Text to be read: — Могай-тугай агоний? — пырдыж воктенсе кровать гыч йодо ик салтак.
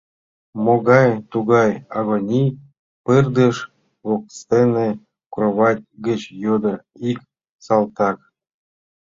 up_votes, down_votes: 0, 2